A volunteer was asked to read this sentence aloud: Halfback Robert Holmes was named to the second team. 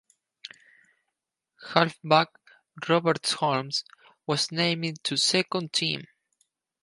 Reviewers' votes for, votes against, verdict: 0, 4, rejected